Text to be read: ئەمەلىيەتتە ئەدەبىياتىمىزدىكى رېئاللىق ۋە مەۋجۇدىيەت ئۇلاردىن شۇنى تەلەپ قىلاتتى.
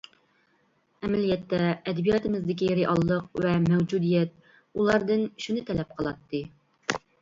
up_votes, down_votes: 2, 0